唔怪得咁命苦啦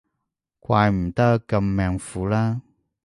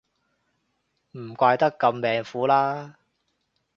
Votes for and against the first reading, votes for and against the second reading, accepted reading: 0, 3, 2, 0, second